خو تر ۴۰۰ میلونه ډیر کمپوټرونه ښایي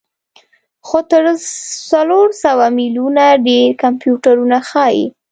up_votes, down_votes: 0, 2